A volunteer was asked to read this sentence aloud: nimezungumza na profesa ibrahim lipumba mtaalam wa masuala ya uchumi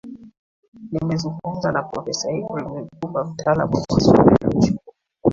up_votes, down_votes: 1, 2